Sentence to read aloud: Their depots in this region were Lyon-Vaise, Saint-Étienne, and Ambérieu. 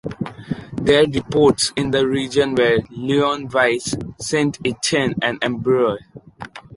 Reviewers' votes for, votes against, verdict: 1, 2, rejected